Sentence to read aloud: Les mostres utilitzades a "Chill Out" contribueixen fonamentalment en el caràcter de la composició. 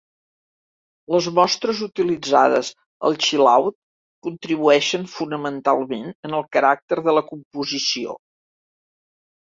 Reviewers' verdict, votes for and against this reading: accepted, 2, 1